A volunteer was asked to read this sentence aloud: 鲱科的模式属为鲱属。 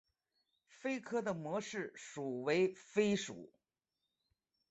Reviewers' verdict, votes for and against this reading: accepted, 2, 0